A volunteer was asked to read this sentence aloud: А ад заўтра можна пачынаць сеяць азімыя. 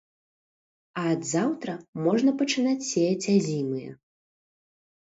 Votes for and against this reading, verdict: 2, 0, accepted